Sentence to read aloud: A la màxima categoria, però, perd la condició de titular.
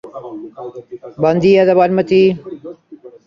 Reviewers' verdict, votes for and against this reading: rejected, 0, 2